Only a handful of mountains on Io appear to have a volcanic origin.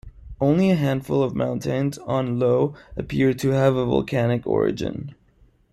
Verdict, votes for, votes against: rejected, 1, 2